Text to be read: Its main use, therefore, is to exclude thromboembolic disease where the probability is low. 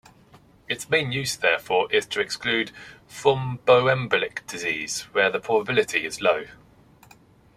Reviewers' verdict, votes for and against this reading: accepted, 2, 0